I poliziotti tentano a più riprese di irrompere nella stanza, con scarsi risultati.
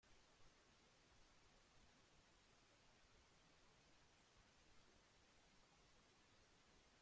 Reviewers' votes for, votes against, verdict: 0, 2, rejected